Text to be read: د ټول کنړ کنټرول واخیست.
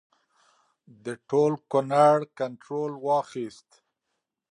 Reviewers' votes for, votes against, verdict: 2, 0, accepted